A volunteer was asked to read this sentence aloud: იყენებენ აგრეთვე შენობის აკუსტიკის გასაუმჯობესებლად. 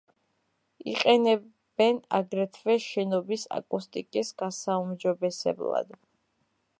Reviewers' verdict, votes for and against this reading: accepted, 2, 1